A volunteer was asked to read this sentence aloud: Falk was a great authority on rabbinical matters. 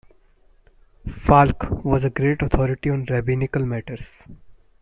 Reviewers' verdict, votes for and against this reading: accepted, 2, 0